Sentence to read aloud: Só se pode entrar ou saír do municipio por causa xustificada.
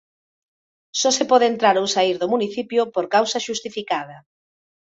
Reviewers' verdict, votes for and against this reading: accepted, 3, 0